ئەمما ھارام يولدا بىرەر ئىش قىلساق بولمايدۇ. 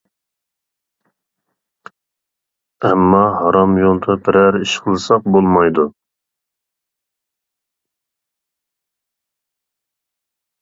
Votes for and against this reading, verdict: 2, 0, accepted